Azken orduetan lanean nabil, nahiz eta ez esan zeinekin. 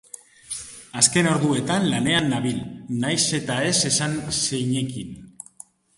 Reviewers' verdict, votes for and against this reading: accepted, 3, 0